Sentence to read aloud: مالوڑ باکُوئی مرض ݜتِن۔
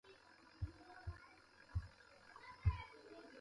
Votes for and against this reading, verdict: 0, 2, rejected